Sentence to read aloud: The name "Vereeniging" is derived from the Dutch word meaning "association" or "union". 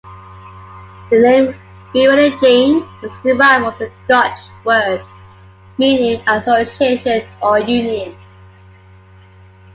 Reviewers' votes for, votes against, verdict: 2, 1, accepted